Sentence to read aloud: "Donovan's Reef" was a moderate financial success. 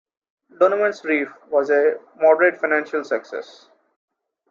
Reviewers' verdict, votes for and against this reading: accepted, 2, 0